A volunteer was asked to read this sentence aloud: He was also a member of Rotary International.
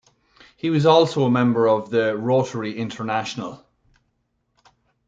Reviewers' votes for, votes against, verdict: 1, 2, rejected